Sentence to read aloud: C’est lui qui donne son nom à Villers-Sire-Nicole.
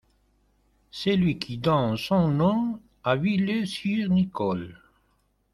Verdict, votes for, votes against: accepted, 2, 0